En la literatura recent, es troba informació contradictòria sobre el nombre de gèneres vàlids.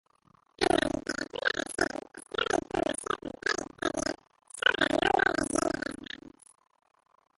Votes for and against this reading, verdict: 0, 2, rejected